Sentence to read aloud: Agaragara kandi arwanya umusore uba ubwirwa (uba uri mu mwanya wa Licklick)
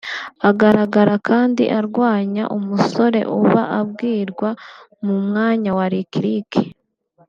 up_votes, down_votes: 0, 2